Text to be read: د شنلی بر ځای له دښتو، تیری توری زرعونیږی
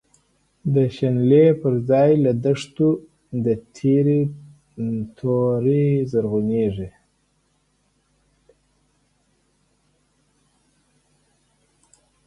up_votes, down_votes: 0, 2